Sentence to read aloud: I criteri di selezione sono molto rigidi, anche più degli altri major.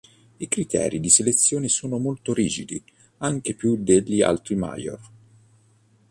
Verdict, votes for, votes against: accepted, 2, 0